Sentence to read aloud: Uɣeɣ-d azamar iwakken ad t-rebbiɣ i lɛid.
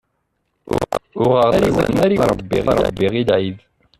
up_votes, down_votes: 0, 2